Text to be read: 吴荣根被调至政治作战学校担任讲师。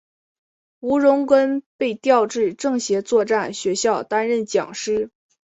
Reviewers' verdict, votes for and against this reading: rejected, 0, 2